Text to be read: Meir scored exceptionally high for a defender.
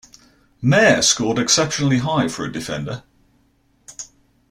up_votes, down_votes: 2, 0